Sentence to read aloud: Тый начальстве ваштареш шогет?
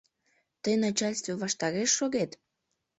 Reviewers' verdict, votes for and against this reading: accepted, 2, 0